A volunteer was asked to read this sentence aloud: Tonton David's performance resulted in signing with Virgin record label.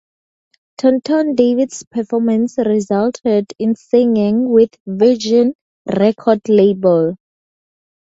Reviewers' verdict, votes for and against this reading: rejected, 0, 2